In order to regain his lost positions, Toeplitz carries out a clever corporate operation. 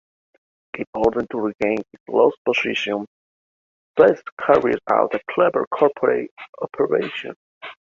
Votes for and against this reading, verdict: 0, 2, rejected